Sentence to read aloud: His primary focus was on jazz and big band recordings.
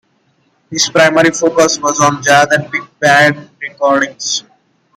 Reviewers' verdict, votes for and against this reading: accepted, 2, 0